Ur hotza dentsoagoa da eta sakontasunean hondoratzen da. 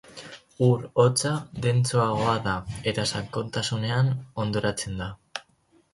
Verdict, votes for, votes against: accepted, 4, 2